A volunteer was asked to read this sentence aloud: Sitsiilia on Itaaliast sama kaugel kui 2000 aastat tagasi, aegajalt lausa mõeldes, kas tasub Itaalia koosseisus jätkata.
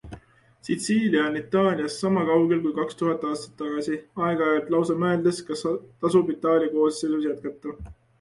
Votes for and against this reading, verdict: 0, 2, rejected